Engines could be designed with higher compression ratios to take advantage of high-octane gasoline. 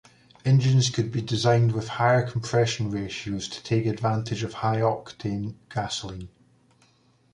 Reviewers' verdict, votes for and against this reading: accepted, 2, 0